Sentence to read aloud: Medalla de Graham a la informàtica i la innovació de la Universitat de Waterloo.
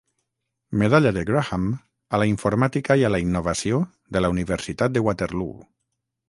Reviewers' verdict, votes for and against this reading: rejected, 0, 3